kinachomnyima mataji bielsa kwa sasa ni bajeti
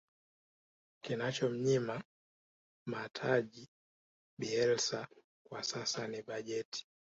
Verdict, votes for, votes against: accepted, 2, 1